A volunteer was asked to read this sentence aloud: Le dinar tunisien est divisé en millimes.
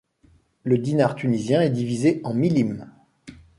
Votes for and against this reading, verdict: 2, 0, accepted